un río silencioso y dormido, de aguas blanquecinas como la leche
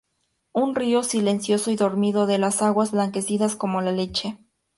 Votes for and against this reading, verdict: 0, 2, rejected